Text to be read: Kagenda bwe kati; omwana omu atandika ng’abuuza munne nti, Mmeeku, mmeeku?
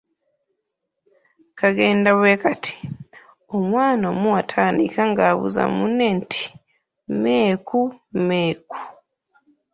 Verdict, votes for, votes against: accepted, 2, 0